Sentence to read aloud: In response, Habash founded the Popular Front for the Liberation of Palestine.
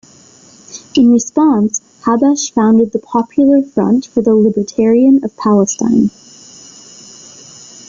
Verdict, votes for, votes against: rejected, 1, 2